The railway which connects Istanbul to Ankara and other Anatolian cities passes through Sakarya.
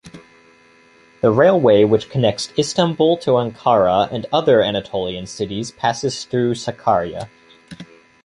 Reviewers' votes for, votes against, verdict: 2, 0, accepted